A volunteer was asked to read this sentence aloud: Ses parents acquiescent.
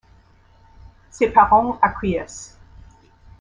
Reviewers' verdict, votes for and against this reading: rejected, 1, 2